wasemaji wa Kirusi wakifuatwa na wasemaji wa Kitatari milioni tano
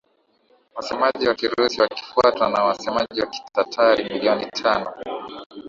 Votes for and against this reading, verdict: 5, 4, accepted